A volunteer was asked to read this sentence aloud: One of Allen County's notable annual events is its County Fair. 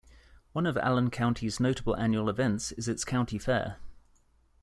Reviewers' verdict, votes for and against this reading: accepted, 2, 0